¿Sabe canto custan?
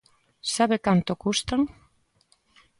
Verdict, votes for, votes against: accepted, 2, 0